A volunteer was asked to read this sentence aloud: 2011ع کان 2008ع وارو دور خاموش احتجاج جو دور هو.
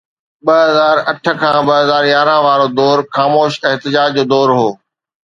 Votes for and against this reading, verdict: 0, 2, rejected